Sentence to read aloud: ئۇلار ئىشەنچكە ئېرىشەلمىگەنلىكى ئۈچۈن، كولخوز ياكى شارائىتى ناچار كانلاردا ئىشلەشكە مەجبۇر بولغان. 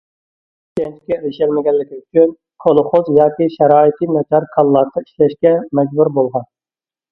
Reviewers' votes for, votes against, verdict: 0, 2, rejected